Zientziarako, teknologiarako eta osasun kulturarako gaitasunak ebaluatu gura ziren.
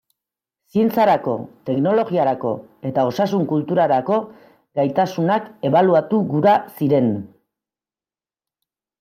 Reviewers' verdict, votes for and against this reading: accepted, 2, 1